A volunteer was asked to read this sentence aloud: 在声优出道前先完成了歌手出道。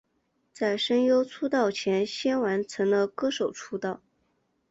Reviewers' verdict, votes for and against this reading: accepted, 4, 0